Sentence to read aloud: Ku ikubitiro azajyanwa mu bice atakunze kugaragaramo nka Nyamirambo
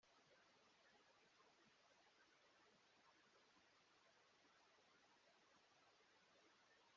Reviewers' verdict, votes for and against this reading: rejected, 0, 2